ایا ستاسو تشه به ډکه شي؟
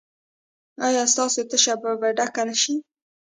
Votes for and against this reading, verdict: 1, 2, rejected